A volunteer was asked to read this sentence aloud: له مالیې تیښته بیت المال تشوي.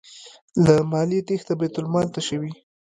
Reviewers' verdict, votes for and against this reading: rejected, 0, 2